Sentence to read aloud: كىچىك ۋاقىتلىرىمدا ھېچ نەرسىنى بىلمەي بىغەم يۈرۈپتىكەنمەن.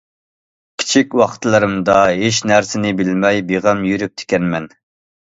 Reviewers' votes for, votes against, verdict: 2, 0, accepted